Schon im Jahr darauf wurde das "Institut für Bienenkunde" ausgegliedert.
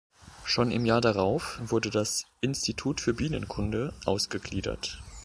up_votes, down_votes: 2, 0